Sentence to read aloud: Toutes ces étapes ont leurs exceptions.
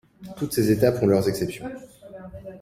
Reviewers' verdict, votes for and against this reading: accepted, 2, 0